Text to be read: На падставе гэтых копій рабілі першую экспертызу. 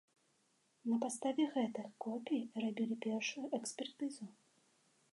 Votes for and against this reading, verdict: 1, 2, rejected